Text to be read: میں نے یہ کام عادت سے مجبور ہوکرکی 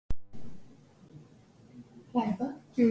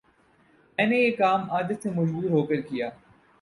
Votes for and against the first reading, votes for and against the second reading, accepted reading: 0, 2, 4, 0, second